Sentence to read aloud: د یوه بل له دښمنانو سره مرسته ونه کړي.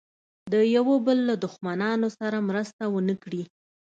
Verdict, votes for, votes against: accepted, 2, 0